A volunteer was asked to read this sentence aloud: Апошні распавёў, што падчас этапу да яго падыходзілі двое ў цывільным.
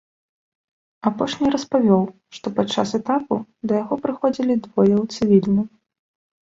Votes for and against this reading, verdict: 1, 2, rejected